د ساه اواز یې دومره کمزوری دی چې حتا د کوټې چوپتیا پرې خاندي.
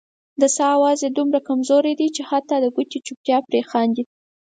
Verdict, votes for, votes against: accepted, 4, 0